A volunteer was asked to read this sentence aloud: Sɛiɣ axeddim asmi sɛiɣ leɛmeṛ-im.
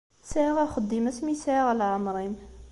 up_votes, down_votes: 2, 0